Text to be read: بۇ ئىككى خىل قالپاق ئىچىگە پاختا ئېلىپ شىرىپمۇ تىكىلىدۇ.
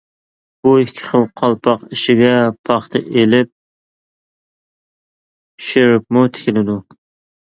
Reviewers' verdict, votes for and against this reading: rejected, 1, 2